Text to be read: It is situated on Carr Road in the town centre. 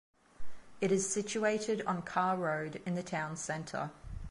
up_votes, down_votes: 2, 0